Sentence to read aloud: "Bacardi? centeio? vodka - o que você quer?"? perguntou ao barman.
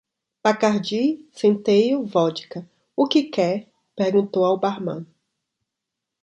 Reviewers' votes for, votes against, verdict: 0, 2, rejected